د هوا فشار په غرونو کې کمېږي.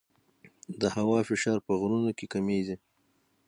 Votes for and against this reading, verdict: 0, 3, rejected